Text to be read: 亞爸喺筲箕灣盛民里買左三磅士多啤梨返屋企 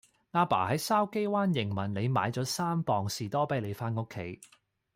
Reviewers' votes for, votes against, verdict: 0, 2, rejected